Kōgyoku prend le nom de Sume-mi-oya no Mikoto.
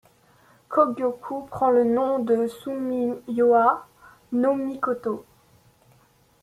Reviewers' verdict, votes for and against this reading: rejected, 1, 2